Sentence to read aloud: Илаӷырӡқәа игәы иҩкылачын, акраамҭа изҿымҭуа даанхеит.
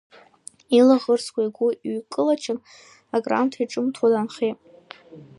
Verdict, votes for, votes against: accepted, 2, 0